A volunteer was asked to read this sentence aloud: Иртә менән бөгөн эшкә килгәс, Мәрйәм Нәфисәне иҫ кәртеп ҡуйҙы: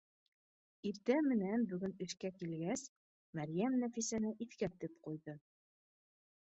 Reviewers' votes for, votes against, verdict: 2, 0, accepted